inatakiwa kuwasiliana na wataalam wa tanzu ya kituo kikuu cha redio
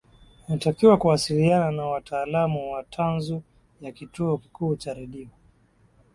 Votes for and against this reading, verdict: 21, 0, accepted